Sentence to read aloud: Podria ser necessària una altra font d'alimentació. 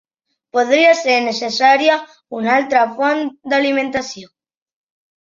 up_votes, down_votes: 1, 2